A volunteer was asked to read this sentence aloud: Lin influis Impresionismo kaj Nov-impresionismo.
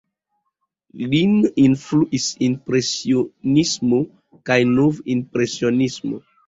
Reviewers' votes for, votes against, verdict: 0, 2, rejected